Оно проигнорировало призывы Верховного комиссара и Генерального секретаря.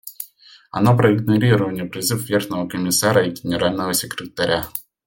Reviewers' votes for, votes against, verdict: 0, 2, rejected